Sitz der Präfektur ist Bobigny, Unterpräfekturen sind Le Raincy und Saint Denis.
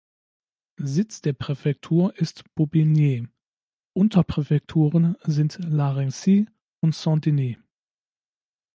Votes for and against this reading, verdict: 1, 2, rejected